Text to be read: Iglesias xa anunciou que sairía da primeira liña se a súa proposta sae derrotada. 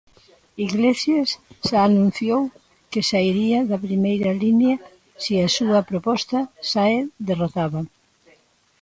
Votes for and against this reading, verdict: 2, 0, accepted